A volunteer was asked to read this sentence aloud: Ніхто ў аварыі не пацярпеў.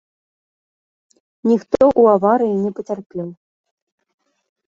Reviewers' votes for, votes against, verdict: 1, 2, rejected